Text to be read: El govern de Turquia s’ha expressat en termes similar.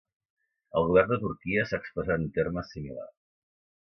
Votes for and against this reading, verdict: 1, 2, rejected